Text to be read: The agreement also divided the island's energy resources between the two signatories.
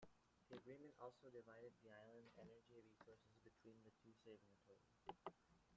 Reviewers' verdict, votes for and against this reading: rejected, 0, 3